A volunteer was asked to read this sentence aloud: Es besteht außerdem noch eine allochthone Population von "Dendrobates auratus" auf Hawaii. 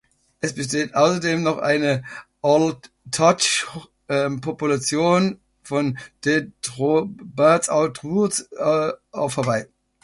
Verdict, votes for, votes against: rejected, 0, 2